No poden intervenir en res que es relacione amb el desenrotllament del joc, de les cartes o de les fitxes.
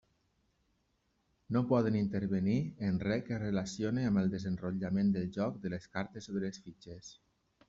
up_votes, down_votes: 1, 2